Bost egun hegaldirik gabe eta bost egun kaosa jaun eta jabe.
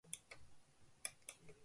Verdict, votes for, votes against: rejected, 0, 3